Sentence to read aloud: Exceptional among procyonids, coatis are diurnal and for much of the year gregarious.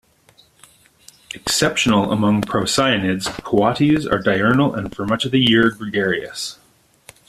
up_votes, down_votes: 0, 2